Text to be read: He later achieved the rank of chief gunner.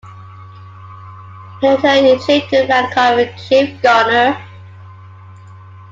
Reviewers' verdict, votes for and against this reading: rejected, 0, 2